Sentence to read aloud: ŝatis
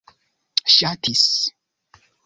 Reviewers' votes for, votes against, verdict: 2, 0, accepted